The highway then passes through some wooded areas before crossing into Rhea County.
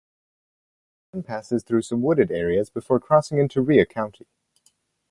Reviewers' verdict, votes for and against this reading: rejected, 2, 4